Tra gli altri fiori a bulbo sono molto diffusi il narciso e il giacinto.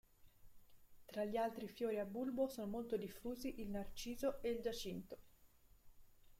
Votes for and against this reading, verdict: 2, 1, accepted